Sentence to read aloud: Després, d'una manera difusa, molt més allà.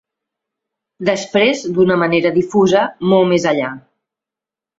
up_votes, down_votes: 3, 0